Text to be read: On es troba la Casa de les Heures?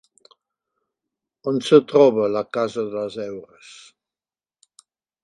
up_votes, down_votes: 2, 0